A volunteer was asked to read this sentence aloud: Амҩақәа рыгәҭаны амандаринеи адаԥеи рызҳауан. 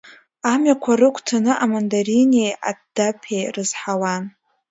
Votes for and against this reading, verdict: 2, 1, accepted